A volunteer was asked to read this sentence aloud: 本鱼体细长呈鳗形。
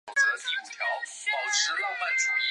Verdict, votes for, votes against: accepted, 2, 0